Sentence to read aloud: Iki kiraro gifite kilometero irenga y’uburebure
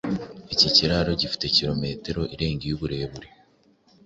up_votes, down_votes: 3, 0